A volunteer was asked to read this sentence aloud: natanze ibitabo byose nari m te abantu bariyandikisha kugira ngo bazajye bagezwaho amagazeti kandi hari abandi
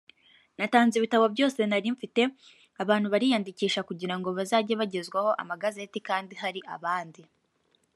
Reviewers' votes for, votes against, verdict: 2, 1, accepted